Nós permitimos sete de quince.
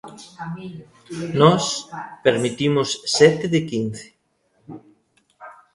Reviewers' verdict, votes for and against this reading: accepted, 2, 0